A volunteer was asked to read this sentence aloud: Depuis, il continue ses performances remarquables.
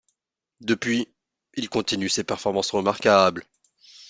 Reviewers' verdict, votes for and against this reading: accepted, 2, 0